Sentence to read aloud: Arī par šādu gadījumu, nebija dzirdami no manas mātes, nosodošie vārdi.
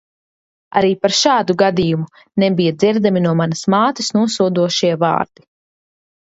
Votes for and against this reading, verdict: 2, 0, accepted